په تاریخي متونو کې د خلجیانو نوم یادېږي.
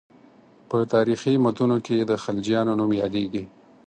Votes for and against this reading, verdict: 4, 0, accepted